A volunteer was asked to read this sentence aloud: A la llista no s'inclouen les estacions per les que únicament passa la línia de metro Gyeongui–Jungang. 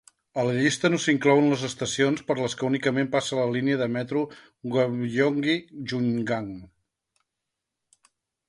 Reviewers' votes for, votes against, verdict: 2, 0, accepted